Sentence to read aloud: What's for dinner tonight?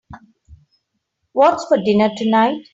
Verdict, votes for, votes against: accepted, 2, 1